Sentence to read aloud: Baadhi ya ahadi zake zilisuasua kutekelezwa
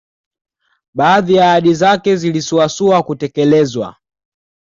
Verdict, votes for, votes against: accepted, 2, 0